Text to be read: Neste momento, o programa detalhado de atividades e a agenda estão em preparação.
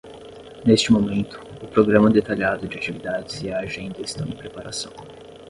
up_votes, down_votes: 5, 10